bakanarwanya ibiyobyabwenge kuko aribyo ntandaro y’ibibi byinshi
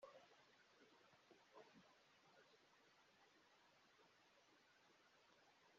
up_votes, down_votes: 0, 2